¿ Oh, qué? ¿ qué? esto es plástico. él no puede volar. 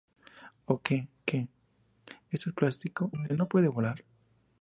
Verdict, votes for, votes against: accepted, 4, 0